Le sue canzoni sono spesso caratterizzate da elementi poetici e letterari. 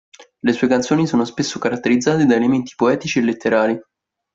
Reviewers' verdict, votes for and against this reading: accepted, 2, 0